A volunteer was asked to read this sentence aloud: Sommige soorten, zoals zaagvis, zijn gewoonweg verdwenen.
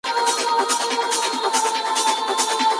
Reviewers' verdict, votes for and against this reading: rejected, 0, 2